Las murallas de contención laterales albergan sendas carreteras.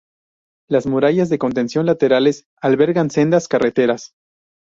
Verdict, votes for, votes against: rejected, 0, 2